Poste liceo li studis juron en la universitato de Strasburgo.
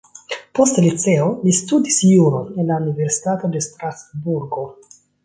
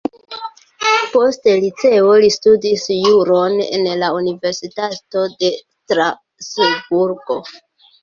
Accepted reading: first